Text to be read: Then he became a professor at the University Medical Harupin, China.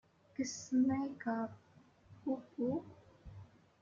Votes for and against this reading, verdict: 0, 2, rejected